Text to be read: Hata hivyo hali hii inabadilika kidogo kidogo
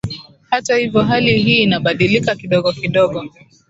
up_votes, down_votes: 2, 0